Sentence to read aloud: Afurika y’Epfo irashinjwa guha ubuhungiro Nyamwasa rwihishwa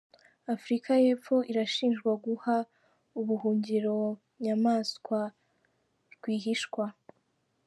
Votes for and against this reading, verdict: 0, 3, rejected